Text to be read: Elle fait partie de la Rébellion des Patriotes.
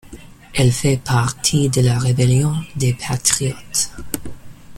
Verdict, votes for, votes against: accepted, 2, 0